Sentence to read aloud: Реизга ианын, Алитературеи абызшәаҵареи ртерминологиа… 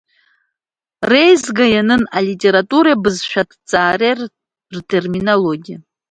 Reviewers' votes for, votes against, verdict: 0, 2, rejected